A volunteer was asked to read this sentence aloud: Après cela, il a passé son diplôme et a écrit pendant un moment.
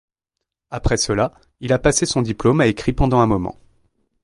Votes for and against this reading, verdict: 1, 2, rejected